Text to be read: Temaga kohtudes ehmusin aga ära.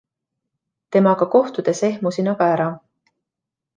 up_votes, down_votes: 2, 0